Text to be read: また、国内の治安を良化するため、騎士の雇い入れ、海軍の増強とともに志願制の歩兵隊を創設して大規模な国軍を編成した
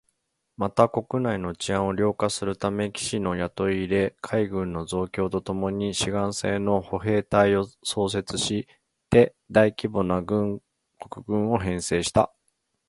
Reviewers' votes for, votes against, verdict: 2, 1, accepted